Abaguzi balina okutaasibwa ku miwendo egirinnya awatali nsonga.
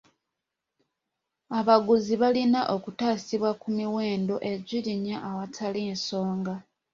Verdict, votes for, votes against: accepted, 2, 0